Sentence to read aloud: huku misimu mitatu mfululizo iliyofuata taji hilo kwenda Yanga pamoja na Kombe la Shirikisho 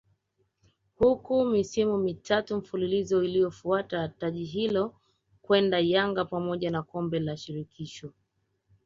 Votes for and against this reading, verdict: 3, 0, accepted